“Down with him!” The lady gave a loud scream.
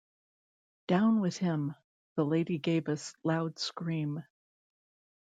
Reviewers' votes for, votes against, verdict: 1, 2, rejected